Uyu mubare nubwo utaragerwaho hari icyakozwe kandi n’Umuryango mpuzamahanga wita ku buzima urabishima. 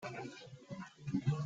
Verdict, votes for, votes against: rejected, 0, 2